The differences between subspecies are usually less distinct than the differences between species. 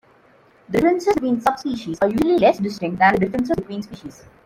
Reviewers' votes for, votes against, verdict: 2, 1, accepted